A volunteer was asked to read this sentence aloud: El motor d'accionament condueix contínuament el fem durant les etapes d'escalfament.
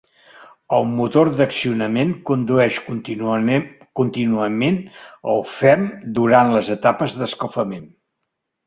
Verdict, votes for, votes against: rejected, 0, 2